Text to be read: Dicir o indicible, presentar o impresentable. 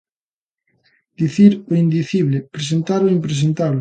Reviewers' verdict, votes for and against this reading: rejected, 1, 2